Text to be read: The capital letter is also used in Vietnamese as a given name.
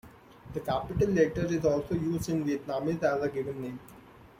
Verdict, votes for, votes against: rejected, 0, 2